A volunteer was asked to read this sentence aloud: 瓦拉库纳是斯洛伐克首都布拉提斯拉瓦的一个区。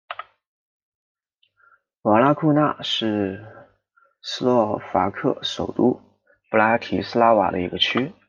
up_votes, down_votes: 2, 0